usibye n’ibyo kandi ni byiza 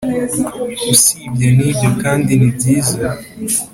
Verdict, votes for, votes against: accepted, 2, 0